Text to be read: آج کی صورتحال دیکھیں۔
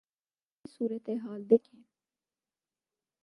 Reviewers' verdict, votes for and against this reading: rejected, 2, 6